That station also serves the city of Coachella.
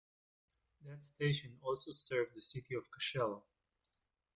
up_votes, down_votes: 0, 2